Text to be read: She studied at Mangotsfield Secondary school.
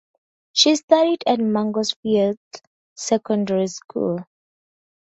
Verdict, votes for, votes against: accepted, 2, 0